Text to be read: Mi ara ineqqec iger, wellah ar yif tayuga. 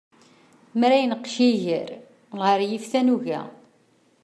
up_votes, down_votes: 0, 2